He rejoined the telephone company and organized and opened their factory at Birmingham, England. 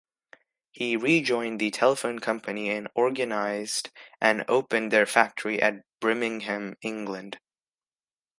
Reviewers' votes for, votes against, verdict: 0, 2, rejected